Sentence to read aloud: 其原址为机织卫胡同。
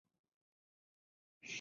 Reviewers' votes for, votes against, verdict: 0, 2, rejected